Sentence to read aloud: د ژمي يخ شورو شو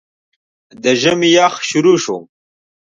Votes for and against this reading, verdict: 2, 0, accepted